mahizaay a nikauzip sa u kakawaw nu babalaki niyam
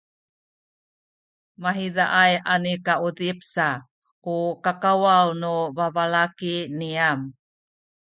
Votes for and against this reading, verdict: 0, 2, rejected